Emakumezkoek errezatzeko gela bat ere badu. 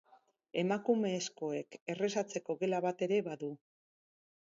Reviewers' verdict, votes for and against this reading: accepted, 6, 0